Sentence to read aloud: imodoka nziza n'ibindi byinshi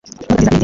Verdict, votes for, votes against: rejected, 1, 2